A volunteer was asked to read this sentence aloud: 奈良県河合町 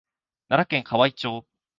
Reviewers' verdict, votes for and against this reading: accepted, 2, 0